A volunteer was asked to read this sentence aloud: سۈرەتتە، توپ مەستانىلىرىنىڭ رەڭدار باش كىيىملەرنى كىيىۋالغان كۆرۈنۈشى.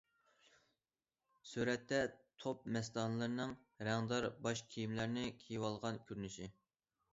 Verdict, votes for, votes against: accepted, 2, 0